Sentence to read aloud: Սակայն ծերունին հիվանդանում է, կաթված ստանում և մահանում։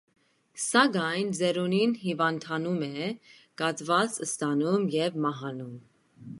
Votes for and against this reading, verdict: 0, 2, rejected